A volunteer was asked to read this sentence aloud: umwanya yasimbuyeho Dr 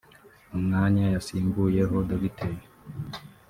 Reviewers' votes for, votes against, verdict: 1, 2, rejected